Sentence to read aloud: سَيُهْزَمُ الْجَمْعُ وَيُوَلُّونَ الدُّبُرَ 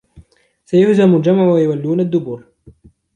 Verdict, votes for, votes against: accepted, 2, 0